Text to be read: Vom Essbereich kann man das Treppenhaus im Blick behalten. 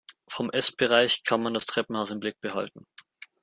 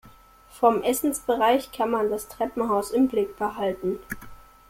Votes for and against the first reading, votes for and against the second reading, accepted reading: 2, 0, 0, 2, first